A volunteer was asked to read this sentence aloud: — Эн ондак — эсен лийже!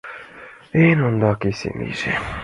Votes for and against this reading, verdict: 2, 0, accepted